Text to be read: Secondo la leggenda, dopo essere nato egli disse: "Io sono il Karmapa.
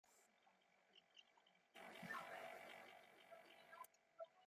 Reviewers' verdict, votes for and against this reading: rejected, 0, 2